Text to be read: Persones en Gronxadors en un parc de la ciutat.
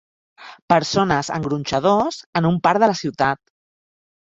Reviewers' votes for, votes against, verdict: 4, 0, accepted